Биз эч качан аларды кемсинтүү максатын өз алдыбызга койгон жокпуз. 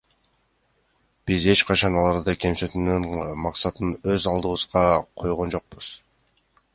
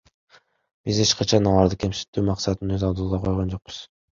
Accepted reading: second